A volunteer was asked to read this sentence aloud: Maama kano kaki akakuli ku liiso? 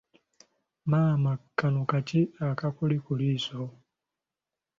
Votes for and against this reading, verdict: 2, 0, accepted